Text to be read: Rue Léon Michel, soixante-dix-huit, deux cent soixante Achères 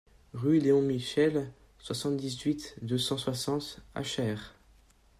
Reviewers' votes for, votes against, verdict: 2, 0, accepted